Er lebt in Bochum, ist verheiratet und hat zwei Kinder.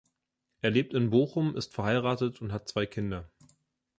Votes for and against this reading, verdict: 2, 0, accepted